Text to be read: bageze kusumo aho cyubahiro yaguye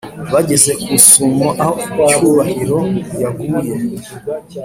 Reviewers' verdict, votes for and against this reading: accepted, 2, 0